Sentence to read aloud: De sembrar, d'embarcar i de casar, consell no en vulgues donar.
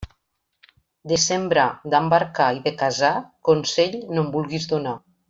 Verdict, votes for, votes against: rejected, 1, 2